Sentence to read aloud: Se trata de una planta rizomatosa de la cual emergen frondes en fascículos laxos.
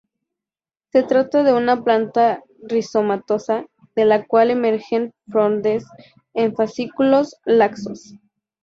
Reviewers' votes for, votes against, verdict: 0, 2, rejected